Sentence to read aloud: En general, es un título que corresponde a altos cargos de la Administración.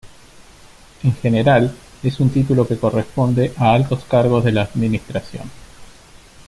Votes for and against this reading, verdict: 2, 0, accepted